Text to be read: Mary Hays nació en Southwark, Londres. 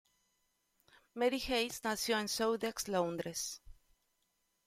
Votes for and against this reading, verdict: 1, 2, rejected